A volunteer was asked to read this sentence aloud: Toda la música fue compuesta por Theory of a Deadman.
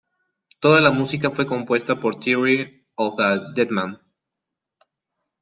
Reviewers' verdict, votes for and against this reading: accepted, 2, 0